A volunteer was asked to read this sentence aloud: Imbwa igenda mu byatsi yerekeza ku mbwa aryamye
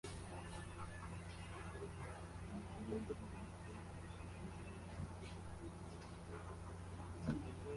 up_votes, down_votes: 0, 2